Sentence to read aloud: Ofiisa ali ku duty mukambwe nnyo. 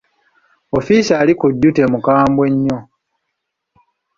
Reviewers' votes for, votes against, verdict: 2, 0, accepted